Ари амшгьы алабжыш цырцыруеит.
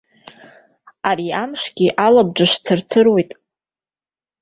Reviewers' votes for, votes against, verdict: 3, 0, accepted